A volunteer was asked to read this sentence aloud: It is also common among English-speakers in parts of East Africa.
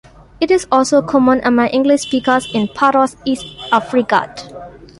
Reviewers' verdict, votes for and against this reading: rejected, 0, 2